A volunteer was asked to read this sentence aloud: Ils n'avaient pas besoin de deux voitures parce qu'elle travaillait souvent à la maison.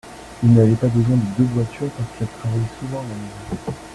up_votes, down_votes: 2, 1